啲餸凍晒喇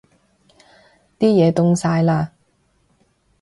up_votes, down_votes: 0, 3